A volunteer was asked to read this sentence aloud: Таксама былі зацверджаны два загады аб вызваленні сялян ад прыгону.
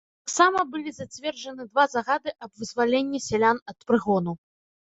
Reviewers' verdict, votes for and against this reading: rejected, 1, 2